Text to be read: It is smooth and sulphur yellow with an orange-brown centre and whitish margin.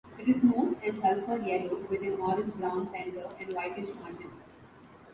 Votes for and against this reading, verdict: 2, 0, accepted